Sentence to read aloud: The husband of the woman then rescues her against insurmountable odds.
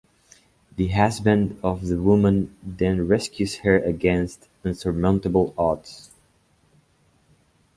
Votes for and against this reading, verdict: 1, 2, rejected